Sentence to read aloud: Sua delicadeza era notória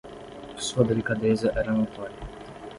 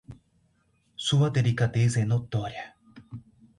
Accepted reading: first